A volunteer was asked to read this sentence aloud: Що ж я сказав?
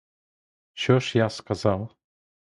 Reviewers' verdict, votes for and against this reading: accepted, 2, 0